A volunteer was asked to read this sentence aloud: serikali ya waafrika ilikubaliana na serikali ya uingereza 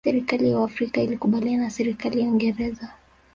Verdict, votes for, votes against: rejected, 1, 2